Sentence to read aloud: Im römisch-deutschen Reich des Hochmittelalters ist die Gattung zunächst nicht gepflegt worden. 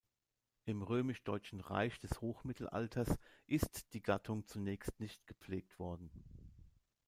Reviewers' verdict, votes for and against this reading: rejected, 0, 2